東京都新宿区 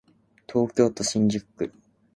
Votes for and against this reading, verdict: 3, 0, accepted